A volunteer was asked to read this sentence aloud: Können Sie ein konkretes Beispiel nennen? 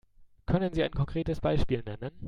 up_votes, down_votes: 2, 0